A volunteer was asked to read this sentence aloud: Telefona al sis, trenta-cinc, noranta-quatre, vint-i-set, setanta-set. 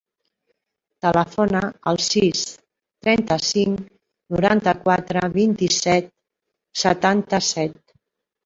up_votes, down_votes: 3, 1